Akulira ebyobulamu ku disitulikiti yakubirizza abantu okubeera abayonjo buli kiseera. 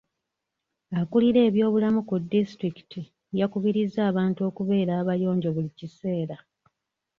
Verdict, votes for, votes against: accepted, 2, 0